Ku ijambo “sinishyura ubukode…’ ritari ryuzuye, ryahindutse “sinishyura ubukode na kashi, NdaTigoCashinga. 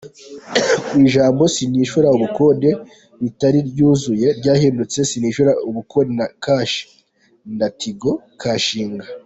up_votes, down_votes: 1, 2